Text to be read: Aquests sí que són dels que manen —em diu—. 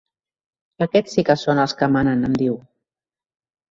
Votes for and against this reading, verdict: 2, 0, accepted